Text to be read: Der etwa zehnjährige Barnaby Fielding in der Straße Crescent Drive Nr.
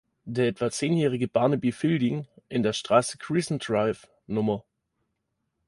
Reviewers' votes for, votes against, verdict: 1, 2, rejected